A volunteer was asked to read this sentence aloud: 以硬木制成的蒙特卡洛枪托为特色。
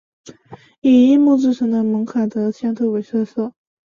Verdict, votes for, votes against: rejected, 0, 2